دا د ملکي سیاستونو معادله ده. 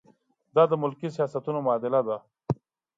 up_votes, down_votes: 2, 0